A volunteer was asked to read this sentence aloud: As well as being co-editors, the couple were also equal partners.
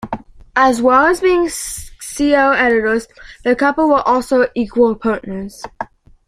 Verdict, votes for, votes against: rejected, 1, 2